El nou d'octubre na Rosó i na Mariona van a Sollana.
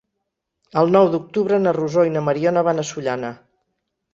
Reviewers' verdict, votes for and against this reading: accepted, 6, 0